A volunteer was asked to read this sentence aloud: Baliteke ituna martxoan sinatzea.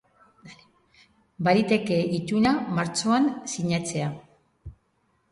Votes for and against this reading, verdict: 2, 0, accepted